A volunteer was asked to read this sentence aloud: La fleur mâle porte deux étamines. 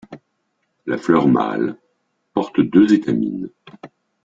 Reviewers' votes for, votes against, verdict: 2, 0, accepted